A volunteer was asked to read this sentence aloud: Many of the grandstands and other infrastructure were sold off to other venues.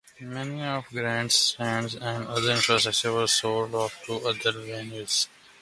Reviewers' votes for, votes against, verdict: 0, 2, rejected